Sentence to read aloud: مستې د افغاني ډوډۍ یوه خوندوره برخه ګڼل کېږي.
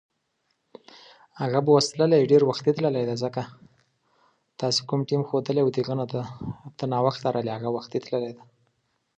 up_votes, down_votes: 1, 2